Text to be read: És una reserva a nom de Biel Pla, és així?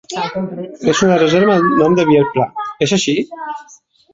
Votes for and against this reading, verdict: 1, 2, rejected